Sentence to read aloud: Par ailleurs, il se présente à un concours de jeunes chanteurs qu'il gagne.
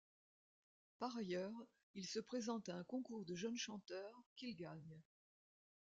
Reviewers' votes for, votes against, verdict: 1, 2, rejected